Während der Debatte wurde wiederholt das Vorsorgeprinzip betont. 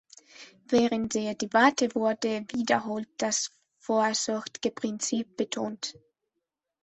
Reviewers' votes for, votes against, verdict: 1, 3, rejected